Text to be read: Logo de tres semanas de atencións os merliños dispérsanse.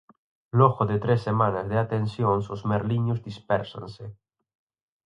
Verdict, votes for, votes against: accepted, 4, 0